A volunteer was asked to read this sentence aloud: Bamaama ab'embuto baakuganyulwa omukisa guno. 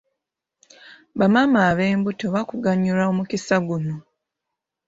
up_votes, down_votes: 1, 2